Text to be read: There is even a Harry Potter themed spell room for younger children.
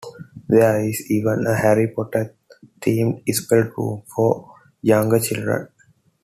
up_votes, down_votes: 1, 2